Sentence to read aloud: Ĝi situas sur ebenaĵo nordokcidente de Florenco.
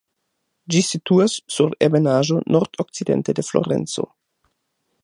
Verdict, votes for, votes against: accepted, 2, 0